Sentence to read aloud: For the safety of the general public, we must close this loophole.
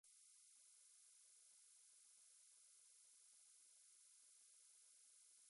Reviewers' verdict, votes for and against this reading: rejected, 0, 2